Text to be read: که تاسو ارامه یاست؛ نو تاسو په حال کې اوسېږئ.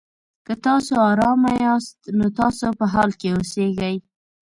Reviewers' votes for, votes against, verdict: 2, 0, accepted